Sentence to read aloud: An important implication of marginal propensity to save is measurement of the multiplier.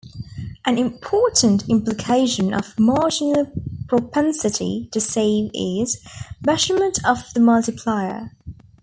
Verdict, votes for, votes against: accepted, 2, 0